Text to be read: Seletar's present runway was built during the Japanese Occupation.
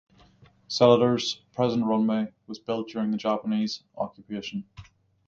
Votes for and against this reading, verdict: 6, 0, accepted